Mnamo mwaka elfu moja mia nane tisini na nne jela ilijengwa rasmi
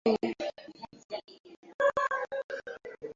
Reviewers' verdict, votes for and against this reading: rejected, 0, 2